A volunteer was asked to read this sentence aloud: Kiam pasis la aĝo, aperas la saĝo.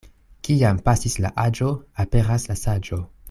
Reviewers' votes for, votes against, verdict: 2, 0, accepted